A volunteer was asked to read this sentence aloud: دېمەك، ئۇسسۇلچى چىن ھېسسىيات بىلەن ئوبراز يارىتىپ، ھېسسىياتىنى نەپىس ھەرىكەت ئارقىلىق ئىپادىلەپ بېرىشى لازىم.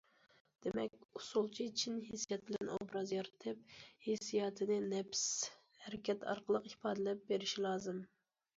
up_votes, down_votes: 2, 0